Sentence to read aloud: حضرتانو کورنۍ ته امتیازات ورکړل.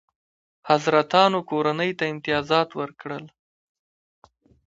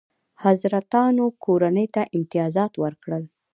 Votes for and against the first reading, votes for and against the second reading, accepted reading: 2, 1, 0, 2, first